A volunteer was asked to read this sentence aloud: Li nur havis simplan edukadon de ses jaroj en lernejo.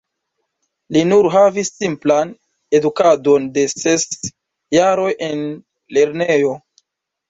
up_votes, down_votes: 2, 0